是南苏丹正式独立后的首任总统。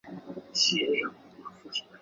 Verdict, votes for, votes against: rejected, 1, 3